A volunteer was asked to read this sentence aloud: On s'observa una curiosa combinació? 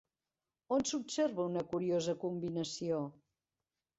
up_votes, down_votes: 0, 2